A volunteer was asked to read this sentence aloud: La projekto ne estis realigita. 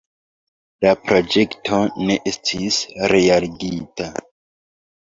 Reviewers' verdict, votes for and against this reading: rejected, 0, 2